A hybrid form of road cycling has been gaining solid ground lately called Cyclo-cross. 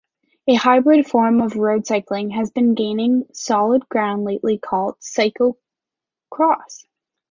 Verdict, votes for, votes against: accepted, 2, 0